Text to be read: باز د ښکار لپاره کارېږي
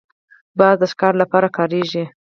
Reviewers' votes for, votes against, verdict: 2, 4, rejected